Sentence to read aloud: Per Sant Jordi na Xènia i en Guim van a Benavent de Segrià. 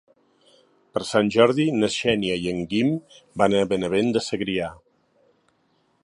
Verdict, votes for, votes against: accepted, 2, 0